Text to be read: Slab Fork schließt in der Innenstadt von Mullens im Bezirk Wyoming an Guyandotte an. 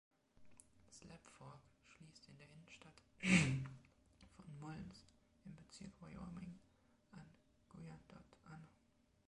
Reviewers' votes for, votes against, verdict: 1, 2, rejected